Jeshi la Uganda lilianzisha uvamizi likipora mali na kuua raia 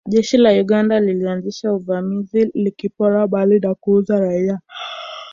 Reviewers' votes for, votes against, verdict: 0, 2, rejected